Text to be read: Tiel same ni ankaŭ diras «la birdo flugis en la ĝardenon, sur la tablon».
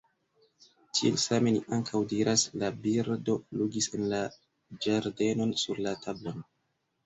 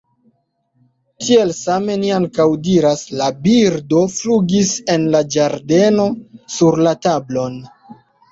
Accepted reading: first